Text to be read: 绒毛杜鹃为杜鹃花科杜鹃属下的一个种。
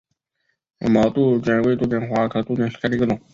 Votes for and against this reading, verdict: 3, 1, accepted